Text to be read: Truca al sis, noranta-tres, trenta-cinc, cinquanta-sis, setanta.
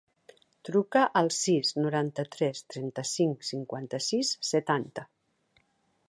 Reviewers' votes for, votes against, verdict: 2, 0, accepted